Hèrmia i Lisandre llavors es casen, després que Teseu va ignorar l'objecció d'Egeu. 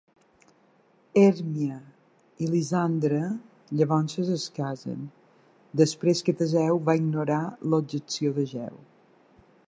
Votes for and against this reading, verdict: 1, 2, rejected